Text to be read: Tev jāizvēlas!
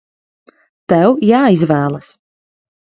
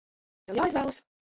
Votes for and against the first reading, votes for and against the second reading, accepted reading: 2, 0, 0, 2, first